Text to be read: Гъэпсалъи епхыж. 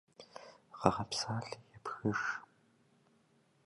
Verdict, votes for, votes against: rejected, 1, 2